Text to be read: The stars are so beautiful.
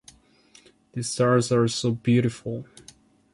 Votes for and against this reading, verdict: 2, 0, accepted